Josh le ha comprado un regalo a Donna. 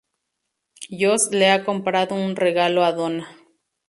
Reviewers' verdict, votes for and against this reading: rejected, 2, 2